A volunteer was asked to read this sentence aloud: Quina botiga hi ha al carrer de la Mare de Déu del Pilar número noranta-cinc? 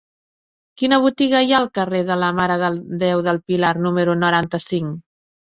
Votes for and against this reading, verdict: 0, 2, rejected